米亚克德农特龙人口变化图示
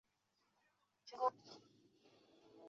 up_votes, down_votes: 1, 3